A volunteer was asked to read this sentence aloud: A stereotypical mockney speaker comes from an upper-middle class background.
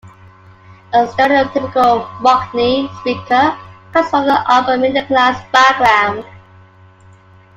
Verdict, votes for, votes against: accepted, 2, 1